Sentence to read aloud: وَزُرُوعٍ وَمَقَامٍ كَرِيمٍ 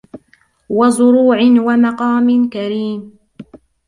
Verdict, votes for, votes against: rejected, 1, 2